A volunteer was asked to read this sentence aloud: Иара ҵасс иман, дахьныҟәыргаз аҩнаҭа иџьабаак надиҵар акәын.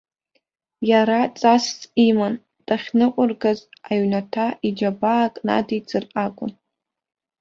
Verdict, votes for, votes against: accepted, 2, 0